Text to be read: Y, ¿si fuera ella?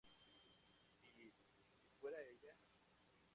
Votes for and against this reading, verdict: 0, 2, rejected